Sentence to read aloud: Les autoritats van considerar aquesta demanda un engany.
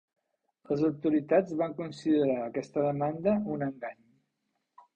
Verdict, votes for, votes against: accepted, 3, 0